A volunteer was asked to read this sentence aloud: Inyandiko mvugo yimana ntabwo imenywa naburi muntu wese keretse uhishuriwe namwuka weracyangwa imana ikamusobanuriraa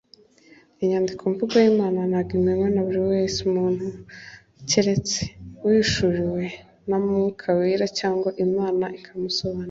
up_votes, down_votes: 1, 2